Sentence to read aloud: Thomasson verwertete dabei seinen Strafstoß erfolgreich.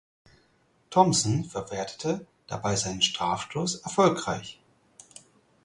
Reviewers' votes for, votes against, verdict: 2, 4, rejected